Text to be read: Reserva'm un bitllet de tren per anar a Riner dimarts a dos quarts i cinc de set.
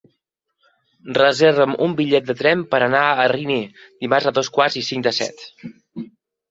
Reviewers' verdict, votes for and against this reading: rejected, 0, 2